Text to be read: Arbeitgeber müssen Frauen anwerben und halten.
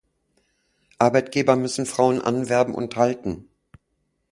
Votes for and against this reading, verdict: 2, 0, accepted